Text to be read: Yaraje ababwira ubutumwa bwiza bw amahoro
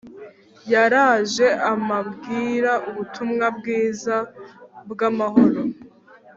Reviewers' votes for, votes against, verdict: 1, 2, rejected